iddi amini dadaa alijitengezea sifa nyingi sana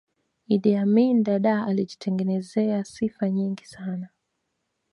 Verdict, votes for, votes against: rejected, 0, 2